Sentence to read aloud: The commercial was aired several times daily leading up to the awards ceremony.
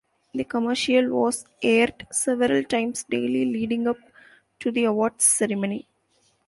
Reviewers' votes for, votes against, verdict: 2, 0, accepted